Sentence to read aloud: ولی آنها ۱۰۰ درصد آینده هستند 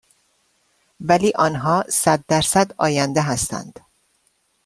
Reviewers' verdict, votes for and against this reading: rejected, 0, 2